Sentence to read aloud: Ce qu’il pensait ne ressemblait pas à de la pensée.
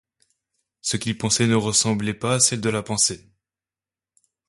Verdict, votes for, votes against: rejected, 1, 2